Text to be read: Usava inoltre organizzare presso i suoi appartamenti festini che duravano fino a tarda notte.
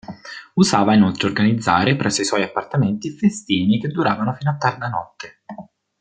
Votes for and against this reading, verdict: 2, 0, accepted